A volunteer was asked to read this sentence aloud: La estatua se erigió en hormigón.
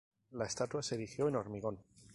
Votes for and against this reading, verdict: 0, 2, rejected